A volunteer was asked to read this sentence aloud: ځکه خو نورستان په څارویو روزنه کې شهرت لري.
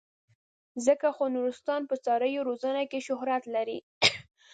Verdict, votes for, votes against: rejected, 0, 2